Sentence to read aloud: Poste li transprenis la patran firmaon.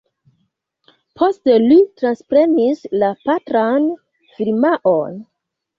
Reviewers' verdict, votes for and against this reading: accepted, 3, 0